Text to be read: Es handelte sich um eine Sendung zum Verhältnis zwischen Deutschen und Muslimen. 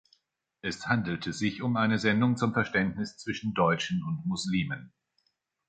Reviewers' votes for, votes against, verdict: 0, 2, rejected